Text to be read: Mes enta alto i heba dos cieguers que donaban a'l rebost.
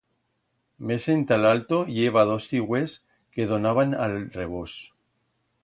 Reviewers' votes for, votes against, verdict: 1, 2, rejected